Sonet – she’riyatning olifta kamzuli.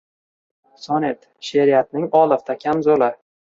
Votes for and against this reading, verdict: 2, 0, accepted